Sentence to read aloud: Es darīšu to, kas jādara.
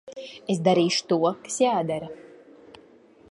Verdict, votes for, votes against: rejected, 0, 2